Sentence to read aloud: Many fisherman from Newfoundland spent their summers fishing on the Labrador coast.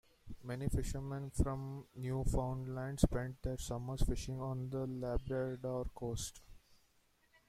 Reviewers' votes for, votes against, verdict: 2, 0, accepted